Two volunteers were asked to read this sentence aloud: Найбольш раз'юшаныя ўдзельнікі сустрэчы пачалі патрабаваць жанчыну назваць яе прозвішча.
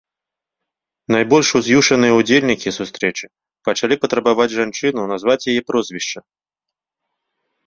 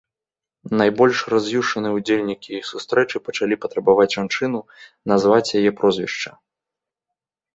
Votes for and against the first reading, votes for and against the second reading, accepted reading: 0, 2, 2, 0, second